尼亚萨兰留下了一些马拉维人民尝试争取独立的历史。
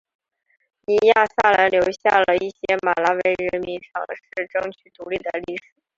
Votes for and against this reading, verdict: 0, 2, rejected